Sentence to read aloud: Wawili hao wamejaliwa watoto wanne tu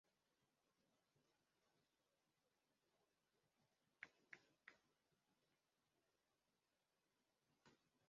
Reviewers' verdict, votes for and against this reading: rejected, 0, 2